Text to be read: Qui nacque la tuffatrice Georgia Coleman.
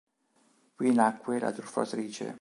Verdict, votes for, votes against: rejected, 1, 2